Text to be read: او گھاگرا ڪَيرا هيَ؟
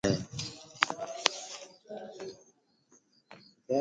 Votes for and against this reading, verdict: 1, 2, rejected